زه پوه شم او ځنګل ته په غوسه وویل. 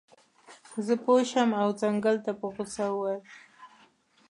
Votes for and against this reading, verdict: 3, 1, accepted